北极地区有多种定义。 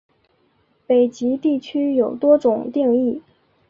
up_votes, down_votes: 3, 0